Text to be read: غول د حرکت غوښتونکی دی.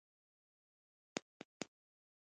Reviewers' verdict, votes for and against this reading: rejected, 1, 2